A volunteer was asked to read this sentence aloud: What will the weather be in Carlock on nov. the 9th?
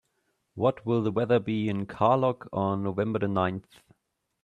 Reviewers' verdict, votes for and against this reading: rejected, 0, 2